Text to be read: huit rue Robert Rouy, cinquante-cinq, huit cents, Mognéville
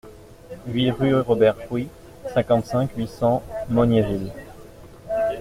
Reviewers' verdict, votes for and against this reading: accepted, 2, 0